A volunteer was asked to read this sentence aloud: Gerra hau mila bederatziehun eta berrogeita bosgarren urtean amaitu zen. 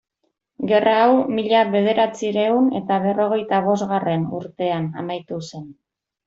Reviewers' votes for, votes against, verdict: 2, 0, accepted